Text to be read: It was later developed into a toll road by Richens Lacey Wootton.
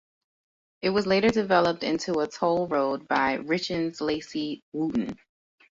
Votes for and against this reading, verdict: 2, 0, accepted